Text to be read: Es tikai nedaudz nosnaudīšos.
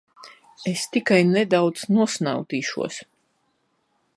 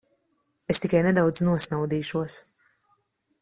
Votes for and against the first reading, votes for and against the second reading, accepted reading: 1, 2, 2, 0, second